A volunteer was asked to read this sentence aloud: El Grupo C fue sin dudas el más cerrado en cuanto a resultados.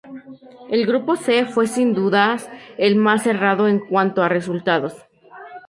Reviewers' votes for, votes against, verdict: 2, 0, accepted